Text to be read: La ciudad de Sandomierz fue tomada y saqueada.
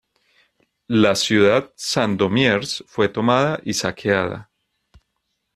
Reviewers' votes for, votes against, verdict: 0, 2, rejected